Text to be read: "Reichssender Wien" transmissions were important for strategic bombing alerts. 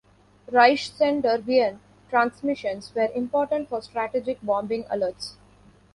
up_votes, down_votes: 2, 1